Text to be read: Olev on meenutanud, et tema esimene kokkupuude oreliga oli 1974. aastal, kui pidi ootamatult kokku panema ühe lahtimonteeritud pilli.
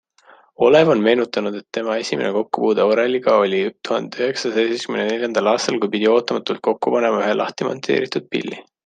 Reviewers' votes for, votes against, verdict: 0, 2, rejected